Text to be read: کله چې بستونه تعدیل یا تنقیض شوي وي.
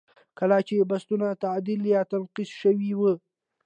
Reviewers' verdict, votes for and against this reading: accepted, 2, 0